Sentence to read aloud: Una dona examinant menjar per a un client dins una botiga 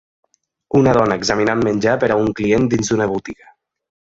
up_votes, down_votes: 0, 2